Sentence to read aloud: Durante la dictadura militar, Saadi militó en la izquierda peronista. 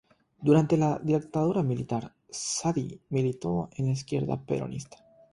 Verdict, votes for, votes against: accepted, 3, 0